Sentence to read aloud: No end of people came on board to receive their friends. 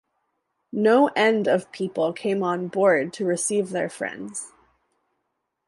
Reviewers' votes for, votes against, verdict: 2, 0, accepted